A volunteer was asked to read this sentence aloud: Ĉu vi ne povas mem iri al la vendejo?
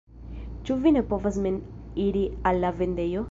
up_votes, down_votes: 1, 2